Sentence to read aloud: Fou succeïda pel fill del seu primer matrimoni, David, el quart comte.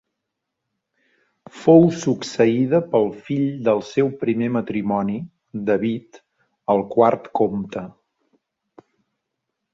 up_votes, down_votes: 4, 0